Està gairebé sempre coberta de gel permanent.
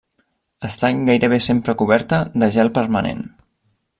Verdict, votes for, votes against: rejected, 1, 2